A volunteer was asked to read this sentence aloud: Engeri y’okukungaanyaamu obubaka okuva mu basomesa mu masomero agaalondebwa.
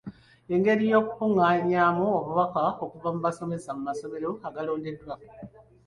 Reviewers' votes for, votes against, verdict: 2, 0, accepted